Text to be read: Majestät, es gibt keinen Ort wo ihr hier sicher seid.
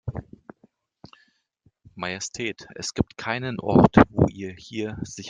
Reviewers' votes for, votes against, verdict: 0, 3, rejected